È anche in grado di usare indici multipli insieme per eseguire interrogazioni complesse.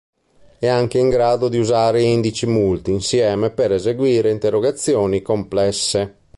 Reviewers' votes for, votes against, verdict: 1, 3, rejected